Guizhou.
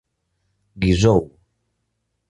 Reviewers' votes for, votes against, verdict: 0, 2, rejected